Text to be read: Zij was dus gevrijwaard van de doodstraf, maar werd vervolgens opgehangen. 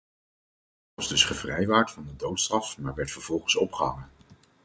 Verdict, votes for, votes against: rejected, 0, 4